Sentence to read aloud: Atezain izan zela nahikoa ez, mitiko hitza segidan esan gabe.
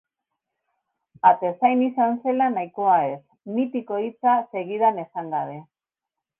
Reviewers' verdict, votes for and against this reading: rejected, 1, 2